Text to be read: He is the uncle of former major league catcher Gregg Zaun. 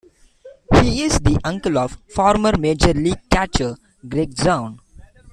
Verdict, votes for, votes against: accepted, 2, 0